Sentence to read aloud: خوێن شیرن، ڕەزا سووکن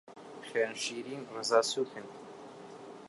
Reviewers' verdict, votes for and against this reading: rejected, 1, 2